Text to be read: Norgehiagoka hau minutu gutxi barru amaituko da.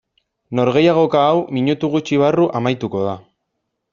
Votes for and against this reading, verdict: 2, 0, accepted